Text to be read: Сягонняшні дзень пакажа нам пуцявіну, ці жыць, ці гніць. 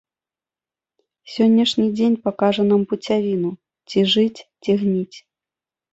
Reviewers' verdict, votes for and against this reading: accepted, 2, 1